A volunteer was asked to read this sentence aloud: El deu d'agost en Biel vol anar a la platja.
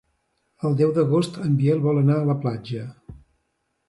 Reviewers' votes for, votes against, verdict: 2, 0, accepted